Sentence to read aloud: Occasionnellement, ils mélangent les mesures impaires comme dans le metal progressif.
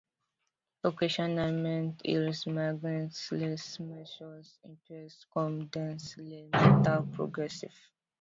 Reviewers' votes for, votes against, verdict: 1, 2, rejected